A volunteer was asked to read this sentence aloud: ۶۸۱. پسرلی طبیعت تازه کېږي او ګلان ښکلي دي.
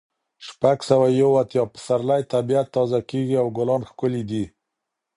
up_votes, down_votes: 0, 2